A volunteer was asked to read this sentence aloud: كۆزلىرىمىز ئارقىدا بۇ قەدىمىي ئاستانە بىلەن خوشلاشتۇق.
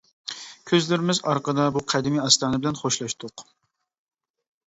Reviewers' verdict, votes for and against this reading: accepted, 2, 0